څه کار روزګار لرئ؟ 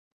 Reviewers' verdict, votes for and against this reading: rejected, 1, 2